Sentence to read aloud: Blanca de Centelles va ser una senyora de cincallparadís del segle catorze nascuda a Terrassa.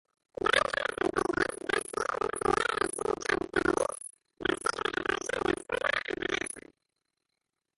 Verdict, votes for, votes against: rejected, 1, 2